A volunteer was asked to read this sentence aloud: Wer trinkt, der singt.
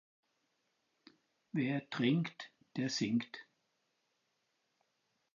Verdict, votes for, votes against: accepted, 4, 0